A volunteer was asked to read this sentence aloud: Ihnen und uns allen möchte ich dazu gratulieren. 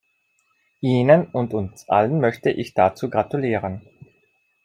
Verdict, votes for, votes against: accepted, 2, 0